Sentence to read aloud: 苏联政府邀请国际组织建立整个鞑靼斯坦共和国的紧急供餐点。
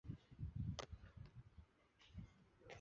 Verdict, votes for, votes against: rejected, 0, 2